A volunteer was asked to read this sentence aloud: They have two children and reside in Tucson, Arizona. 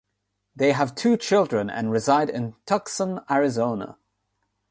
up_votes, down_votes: 0, 3